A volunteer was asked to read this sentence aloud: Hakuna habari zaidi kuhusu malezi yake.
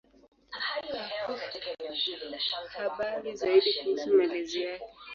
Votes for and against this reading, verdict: 1, 9, rejected